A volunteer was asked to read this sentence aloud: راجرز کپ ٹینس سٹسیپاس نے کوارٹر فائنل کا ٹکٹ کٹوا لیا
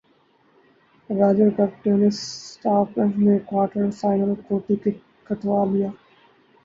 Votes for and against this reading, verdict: 0, 2, rejected